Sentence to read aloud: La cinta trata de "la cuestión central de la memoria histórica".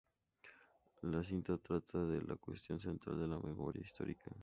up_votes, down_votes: 2, 0